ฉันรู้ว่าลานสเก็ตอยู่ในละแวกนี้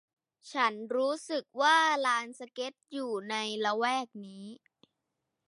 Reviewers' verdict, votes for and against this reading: rejected, 0, 2